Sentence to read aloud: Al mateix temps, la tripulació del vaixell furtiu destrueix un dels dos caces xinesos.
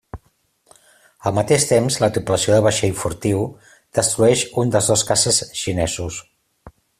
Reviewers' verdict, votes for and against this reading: accepted, 2, 0